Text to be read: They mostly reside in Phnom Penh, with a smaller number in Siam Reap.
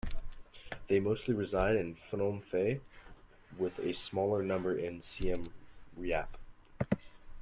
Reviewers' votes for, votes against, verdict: 2, 1, accepted